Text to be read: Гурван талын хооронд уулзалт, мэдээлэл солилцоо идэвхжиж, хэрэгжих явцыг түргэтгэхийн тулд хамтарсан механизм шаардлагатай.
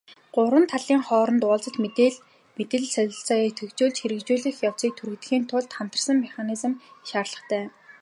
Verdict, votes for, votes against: rejected, 0, 2